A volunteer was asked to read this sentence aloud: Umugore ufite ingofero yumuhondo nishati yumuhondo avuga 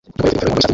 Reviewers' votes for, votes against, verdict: 0, 2, rejected